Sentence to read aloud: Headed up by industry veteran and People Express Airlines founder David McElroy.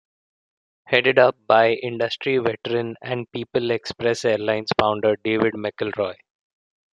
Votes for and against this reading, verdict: 2, 0, accepted